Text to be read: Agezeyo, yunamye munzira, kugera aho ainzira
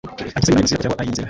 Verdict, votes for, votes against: rejected, 1, 2